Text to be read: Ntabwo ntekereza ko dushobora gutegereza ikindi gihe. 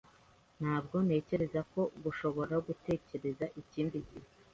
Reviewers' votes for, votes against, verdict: 0, 2, rejected